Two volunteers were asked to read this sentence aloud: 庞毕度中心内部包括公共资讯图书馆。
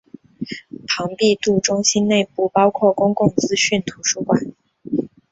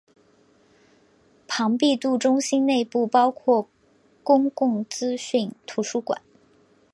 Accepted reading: first